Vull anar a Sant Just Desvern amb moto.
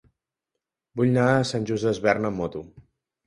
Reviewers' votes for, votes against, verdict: 0, 2, rejected